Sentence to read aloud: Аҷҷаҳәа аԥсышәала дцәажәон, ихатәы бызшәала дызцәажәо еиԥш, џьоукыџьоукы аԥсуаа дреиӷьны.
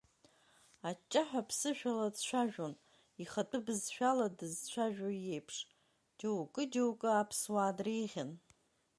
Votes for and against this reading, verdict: 1, 3, rejected